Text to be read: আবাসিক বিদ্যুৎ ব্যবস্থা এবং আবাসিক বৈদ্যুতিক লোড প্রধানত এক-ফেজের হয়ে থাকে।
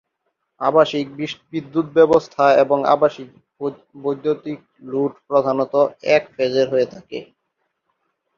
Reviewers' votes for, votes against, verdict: 0, 2, rejected